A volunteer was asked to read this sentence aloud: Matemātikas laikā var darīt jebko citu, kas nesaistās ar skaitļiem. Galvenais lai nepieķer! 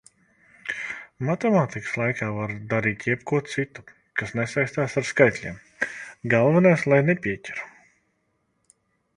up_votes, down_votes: 0, 2